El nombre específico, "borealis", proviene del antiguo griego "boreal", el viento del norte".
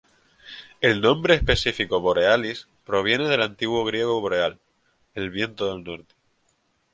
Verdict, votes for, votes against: accepted, 4, 0